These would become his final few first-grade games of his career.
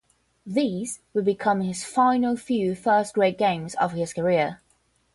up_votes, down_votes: 5, 0